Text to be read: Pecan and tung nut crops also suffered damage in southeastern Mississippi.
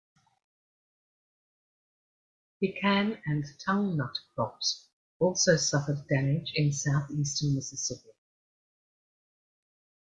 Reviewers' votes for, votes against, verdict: 2, 0, accepted